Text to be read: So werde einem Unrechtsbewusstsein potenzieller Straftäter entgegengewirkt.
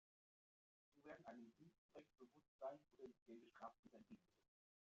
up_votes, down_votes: 0, 2